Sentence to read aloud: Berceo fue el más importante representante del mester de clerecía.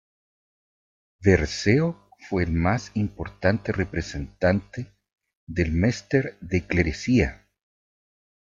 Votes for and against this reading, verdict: 2, 1, accepted